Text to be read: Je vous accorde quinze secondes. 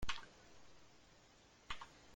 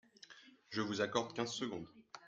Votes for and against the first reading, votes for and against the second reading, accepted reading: 0, 2, 2, 0, second